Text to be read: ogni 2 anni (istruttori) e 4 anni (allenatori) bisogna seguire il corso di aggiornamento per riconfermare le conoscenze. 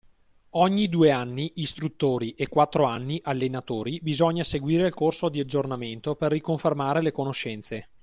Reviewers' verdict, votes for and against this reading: rejected, 0, 2